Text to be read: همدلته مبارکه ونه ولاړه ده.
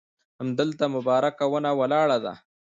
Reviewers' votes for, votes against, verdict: 2, 0, accepted